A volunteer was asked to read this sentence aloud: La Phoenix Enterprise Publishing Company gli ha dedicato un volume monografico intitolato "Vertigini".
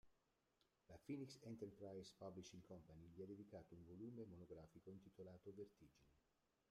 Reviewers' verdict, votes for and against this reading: rejected, 0, 2